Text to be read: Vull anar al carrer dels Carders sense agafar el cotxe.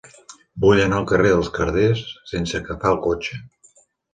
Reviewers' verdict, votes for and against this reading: accepted, 2, 0